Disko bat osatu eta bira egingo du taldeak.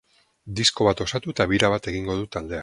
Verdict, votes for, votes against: rejected, 0, 4